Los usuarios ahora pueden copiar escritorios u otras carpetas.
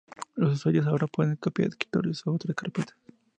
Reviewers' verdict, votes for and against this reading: accepted, 2, 0